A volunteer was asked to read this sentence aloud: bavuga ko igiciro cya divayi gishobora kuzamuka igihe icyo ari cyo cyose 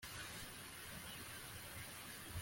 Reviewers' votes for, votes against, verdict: 1, 2, rejected